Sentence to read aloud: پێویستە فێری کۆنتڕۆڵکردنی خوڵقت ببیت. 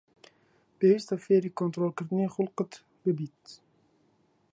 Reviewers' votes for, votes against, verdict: 2, 1, accepted